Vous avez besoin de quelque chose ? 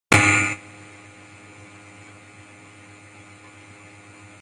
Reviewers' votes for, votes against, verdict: 0, 2, rejected